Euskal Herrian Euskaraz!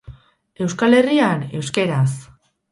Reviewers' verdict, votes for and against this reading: rejected, 2, 4